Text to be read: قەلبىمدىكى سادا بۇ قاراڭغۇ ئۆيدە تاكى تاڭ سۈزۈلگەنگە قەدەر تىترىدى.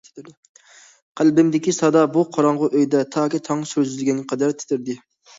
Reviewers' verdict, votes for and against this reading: accepted, 2, 0